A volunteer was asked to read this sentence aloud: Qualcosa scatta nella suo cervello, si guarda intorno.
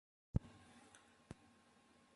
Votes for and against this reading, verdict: 0, 2, rejected